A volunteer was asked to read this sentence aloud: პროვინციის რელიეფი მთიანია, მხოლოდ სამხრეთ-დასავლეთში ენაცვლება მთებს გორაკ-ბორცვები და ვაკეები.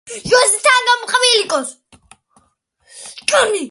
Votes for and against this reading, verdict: 0, 2, rejected